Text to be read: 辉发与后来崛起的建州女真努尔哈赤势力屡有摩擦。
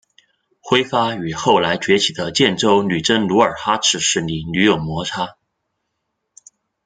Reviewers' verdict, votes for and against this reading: accepted, 2, 0